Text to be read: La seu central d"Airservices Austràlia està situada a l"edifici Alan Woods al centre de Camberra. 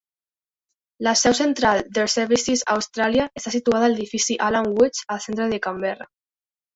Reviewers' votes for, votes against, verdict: 2, 0, accepted